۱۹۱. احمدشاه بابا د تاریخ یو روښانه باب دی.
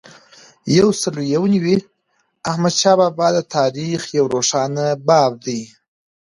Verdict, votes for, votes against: rejected, 0, 2